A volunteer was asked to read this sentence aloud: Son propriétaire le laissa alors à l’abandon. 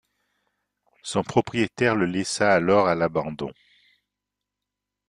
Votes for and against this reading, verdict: 2, 0, accepted